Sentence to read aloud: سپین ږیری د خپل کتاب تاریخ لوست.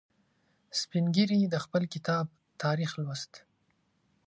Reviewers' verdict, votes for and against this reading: accepted, 2, 0